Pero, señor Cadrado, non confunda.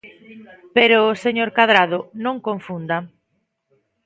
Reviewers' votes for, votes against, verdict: 2, 0, accepted